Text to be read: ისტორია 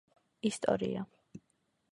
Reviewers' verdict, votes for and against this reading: accepted, 2, 0